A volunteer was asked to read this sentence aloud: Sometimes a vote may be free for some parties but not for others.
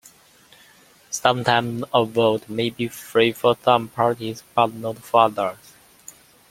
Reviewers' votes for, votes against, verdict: 2, 0, accepted